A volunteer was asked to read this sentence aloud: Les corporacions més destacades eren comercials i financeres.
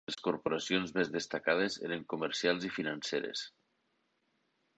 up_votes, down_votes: 4, 0